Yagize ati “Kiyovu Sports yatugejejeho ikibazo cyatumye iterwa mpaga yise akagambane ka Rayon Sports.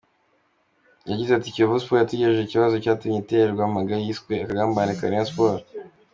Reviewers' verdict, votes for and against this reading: accepted, 2, 0